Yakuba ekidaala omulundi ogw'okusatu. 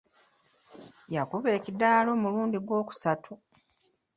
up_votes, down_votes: 0, 2